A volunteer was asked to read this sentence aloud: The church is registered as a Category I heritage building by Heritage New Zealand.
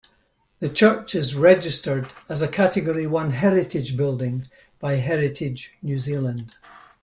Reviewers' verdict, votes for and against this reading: rejected, 0, 2